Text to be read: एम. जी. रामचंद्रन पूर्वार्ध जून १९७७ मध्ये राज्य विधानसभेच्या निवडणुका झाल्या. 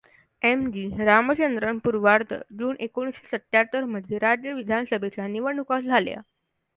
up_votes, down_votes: 0, 2